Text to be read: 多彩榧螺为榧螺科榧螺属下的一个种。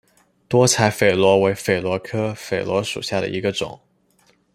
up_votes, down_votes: 2, 0